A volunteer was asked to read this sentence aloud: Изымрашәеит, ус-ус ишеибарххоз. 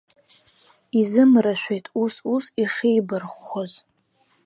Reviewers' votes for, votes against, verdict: 2, 0, accepted